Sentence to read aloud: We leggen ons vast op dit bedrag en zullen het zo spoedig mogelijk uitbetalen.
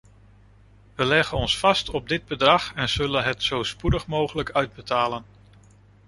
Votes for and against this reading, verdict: 2, 0, accepted